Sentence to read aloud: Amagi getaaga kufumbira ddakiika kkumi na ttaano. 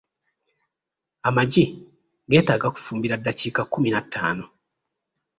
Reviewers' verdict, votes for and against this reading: rejected, 1, 2